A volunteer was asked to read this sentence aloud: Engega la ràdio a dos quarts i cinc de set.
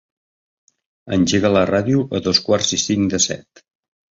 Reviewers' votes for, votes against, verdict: 3, 0, accepted